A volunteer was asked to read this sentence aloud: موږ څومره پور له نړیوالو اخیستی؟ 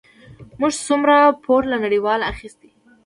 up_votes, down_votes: 2, 0